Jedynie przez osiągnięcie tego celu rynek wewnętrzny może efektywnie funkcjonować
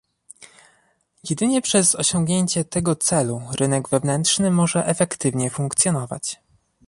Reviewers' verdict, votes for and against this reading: accepted, 2, 0